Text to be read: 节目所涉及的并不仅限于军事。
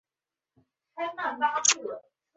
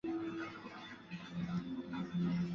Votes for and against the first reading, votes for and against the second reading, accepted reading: 0, 3, 4, 3, second